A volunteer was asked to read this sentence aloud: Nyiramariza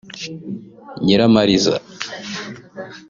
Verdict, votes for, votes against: accepted, 2, 0